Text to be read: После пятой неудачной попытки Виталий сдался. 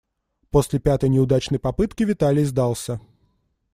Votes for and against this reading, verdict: 2, 0, accepted